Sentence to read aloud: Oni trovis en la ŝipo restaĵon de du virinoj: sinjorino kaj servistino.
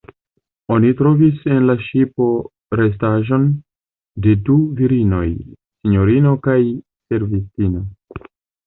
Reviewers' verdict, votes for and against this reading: accepted, 2, 0